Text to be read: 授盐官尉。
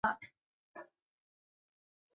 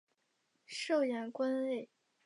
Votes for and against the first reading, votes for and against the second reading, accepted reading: 1, 2, 2, 0, second